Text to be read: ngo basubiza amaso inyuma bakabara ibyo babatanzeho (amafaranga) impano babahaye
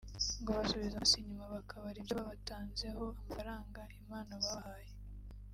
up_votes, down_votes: 0, 2